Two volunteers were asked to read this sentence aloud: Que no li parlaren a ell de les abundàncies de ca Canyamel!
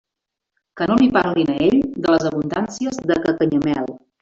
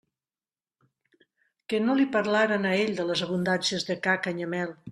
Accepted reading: second